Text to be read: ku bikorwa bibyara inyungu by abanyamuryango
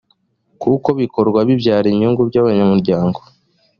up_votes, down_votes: 0, 2